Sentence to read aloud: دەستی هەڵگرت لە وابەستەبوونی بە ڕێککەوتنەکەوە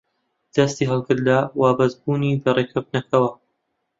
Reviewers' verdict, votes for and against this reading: rejected, 1, 2